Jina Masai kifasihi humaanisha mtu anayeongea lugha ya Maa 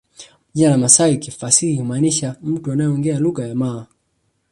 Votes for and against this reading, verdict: 1, 2, rejected